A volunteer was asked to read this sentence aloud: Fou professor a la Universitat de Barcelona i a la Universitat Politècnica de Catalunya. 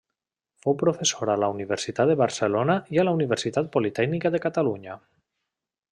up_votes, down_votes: 2, 0